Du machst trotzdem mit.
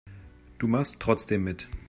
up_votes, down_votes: 2, 0